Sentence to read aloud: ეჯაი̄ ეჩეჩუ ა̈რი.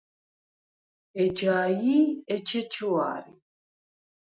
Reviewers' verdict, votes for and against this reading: rejected, 2, 4